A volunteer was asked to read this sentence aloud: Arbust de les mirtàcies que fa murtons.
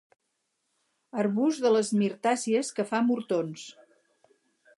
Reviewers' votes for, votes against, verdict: 4, 2, accepted